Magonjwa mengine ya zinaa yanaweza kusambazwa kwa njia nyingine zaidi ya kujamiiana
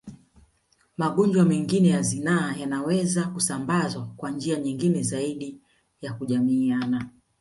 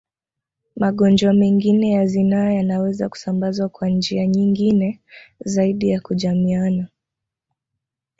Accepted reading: first